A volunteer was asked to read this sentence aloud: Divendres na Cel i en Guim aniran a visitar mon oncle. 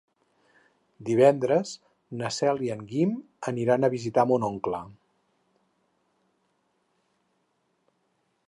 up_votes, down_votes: 6, 0